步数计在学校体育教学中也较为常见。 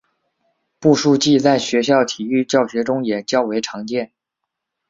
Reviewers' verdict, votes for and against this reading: accepted, 2, 0